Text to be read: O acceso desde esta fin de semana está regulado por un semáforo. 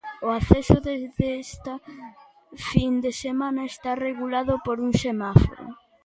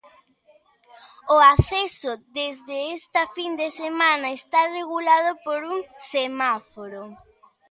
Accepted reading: second